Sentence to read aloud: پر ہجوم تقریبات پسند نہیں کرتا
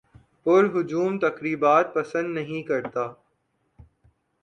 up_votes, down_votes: 4, 0